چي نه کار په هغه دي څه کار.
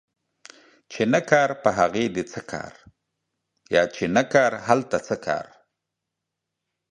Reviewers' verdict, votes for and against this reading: rejected, 1, 2